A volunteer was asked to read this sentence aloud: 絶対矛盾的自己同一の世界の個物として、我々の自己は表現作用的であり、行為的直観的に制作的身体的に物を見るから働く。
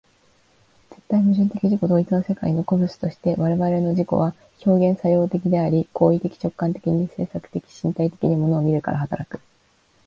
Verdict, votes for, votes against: accepted, 2, 1